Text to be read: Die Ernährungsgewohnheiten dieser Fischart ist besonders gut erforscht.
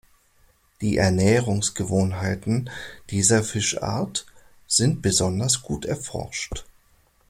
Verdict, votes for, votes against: rejected, 0, 2